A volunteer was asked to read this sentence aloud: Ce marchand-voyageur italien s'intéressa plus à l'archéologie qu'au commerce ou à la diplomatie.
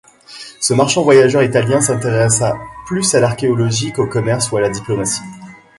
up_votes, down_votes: 2, 0